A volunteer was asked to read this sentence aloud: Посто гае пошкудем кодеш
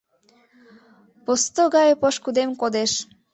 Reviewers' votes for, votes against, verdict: 3, 0, accepted